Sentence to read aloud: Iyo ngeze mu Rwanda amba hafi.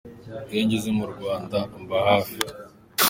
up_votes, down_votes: 0, 2